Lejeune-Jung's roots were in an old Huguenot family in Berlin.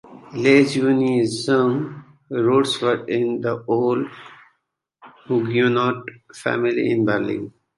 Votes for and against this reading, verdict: 0, 2, rejected